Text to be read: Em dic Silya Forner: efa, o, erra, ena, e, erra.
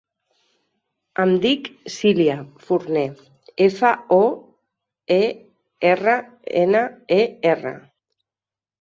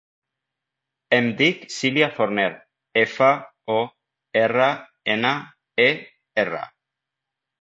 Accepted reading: second